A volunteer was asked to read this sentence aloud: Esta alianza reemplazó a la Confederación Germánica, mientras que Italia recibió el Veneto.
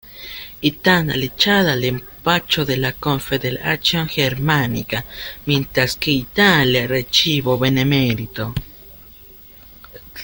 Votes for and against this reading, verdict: 0, 2, rejected